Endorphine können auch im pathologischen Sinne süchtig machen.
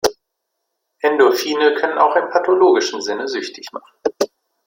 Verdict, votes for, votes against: accepted, 2, 0